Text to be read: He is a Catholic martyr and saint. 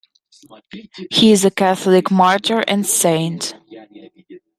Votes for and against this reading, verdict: 2, 1, accepted